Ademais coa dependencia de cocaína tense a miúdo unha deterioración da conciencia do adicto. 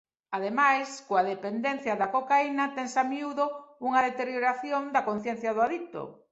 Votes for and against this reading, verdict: 0, 2, rejected